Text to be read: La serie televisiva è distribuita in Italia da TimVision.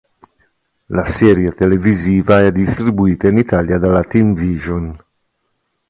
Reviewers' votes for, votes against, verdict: 0, 2, rejected